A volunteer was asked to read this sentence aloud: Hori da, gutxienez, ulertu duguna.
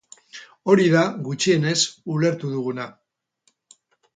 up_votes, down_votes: 4, 0